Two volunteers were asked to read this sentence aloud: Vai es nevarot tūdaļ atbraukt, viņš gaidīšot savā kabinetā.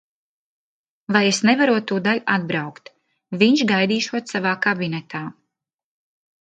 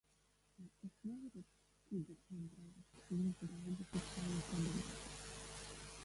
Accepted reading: first